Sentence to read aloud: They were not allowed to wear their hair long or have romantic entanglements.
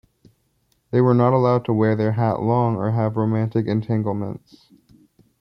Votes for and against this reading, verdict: 1, 2, rejected